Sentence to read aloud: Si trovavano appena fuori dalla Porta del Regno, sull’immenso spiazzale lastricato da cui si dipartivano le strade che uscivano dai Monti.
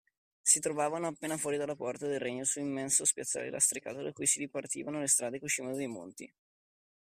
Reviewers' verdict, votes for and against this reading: accepted, 2, 0